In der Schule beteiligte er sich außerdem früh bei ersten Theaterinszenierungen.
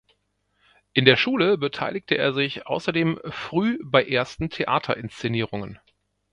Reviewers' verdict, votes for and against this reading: accepted, 2, 0